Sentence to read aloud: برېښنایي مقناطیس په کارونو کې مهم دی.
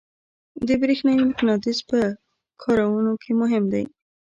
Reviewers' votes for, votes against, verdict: 1, 2, rejected